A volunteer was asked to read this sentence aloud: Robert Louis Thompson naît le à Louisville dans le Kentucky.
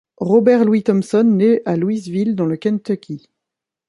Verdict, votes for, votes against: rejected, 1, 2